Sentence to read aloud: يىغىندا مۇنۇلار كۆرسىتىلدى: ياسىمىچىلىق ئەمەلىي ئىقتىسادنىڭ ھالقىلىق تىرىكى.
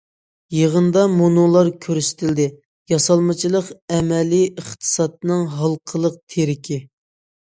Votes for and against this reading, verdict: 0, 2, rejected